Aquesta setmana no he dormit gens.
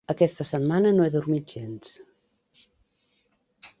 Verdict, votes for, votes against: accepted, 3, 0